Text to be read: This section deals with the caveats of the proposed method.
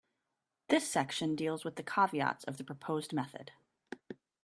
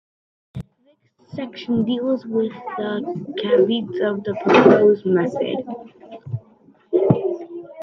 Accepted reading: first